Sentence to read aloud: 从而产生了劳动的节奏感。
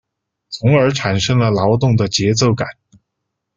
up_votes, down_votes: 2, 0